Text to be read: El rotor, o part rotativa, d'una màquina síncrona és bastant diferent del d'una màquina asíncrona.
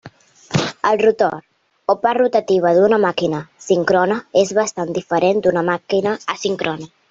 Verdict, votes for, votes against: rejected, 0, 3